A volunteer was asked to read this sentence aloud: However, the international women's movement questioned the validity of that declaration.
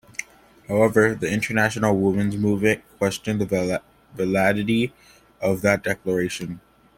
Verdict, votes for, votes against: accepted, 2, 0